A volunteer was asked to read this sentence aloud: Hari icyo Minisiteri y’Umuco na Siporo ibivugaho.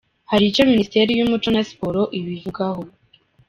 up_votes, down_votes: 1, 2